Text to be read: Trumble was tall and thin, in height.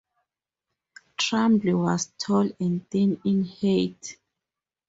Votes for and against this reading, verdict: 4, 0, accepted